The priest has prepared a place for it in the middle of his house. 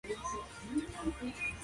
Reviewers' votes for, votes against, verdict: 0, 3, rejected